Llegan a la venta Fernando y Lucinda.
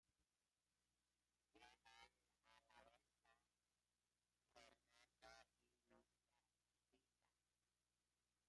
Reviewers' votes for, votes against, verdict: 0, 2, rejected